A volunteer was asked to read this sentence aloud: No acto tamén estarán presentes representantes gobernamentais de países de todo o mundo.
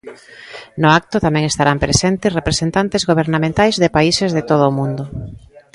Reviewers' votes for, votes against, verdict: 3, 0, accepted